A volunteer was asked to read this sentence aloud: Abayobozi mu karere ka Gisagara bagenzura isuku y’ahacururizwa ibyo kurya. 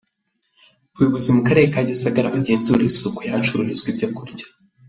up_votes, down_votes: 0, 2